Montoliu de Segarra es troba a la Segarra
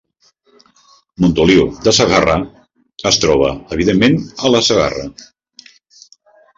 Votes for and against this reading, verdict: 0, 2, rejected